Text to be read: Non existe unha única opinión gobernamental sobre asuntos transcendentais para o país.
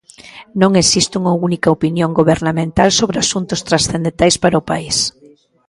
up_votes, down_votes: 2, 0